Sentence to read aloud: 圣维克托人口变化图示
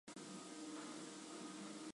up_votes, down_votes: 2, 3